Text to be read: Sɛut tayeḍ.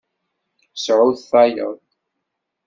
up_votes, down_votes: 2, 0